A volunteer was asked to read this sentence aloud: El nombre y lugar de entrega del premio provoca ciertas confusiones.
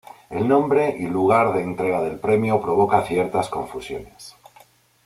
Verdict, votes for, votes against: accepted, 2, 0